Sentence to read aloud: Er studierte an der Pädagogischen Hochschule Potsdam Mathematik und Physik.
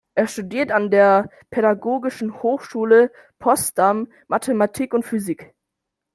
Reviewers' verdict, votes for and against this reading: rejected, 0, 2